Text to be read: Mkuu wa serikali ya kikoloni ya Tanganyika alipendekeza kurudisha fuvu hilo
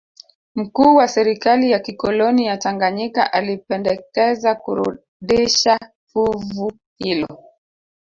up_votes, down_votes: 0, 3